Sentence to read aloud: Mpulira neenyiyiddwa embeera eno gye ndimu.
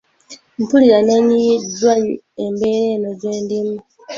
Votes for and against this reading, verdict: 2, 1, accepted